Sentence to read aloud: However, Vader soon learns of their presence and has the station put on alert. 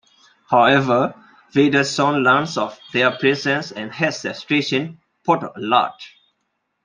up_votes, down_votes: 1, 2